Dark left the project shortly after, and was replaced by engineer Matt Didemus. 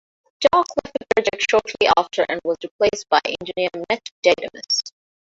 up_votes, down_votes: 1, 2